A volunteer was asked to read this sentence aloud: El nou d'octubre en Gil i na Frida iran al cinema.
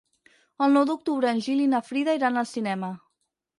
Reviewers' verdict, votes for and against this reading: accepted, 6, 0